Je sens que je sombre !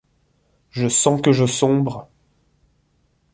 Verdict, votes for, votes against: accepted, 2, 0